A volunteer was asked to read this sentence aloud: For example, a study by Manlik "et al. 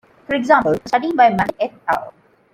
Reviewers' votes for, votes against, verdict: 0, 2, rejected